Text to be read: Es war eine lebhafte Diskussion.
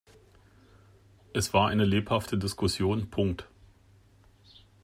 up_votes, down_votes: 0, 2